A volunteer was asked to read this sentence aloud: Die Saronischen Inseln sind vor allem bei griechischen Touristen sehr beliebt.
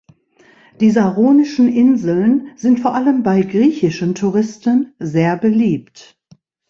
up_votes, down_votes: 2, 0